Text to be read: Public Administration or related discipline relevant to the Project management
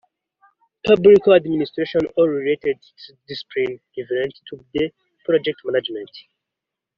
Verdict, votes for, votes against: rejected, 1, 2